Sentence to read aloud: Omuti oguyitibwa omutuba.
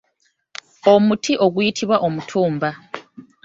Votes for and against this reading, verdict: 1, 2, rejected